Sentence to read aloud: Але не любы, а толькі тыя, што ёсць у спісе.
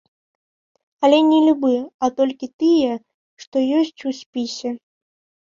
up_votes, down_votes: 2, 0